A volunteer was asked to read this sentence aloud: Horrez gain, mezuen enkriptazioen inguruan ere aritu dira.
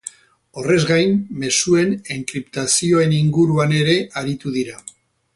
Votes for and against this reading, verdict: 4, 0, accepted